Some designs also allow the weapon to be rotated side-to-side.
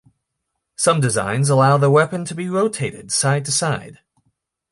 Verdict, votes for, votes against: rejected, 0, 2